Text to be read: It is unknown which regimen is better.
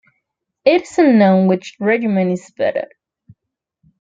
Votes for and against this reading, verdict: 2, 0, accepted